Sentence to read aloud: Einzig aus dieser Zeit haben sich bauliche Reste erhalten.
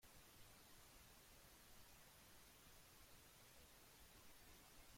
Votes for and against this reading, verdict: 0, 2, rejected